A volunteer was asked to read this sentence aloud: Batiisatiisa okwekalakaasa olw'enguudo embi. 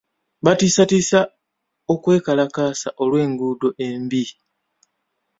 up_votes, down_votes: 1, 2